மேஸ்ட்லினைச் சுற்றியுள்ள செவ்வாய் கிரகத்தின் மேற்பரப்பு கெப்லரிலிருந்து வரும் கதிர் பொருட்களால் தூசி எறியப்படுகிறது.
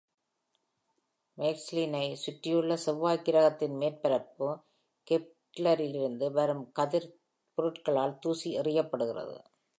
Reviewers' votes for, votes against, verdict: 2, 0, accepted